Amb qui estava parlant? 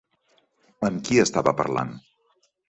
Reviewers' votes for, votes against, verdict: 3, 0, accepted